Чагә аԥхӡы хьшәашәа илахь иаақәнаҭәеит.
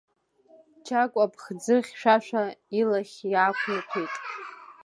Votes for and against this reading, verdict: 1, 2, rejected